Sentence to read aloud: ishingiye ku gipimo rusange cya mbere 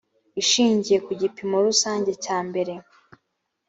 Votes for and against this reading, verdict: 4, 0, accepted